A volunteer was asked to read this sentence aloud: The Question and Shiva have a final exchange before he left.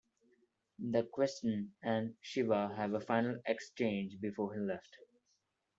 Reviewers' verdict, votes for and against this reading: accepted, 2, 1